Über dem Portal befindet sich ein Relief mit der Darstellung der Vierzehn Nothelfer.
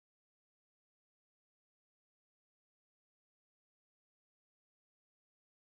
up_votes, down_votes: 0, 2